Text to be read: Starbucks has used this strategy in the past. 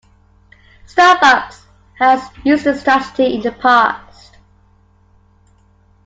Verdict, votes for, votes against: accepted, 2, 1